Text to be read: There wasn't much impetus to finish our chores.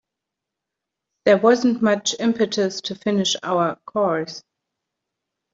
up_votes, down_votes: 1, 2